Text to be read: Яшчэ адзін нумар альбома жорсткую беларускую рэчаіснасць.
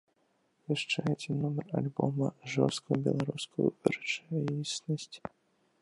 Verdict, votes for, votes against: accepted, 2, 1